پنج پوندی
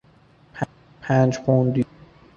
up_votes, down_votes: 1, 2